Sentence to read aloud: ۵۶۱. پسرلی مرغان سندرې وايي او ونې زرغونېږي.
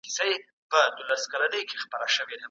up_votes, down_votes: 0, 2